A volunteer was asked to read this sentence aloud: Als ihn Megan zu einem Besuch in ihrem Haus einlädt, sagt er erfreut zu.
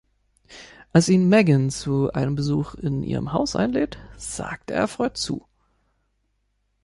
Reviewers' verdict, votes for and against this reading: accepted, 3, 0